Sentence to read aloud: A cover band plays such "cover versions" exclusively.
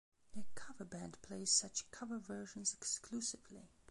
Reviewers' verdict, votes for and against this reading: accepted, 2, 1